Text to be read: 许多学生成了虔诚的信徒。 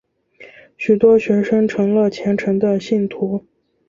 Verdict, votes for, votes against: accepted, 3, 0